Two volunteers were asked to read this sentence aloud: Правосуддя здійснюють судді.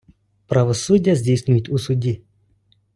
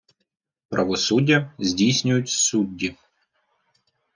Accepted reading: second